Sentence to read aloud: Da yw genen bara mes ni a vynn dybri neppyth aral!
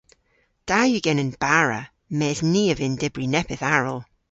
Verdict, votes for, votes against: accepted, 2, 0